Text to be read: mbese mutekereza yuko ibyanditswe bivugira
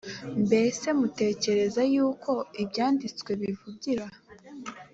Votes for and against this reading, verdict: 2, 0, accepted